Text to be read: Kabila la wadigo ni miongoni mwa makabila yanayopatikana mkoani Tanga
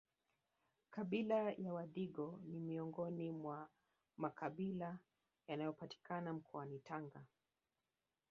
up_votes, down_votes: 0, 2